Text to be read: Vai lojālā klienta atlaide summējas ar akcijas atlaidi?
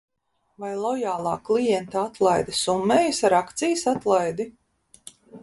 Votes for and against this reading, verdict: 2, 0, accepted